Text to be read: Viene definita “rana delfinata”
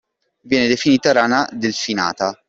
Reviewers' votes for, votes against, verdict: 2, 0, accepted